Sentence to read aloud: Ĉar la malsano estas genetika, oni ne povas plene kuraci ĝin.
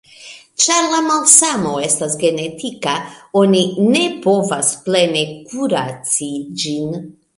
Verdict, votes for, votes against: accepted, 2, 0